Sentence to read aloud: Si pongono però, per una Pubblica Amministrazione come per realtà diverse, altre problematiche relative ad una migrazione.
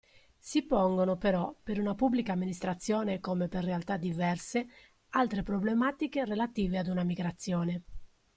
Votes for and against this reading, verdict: 2, 0, accepted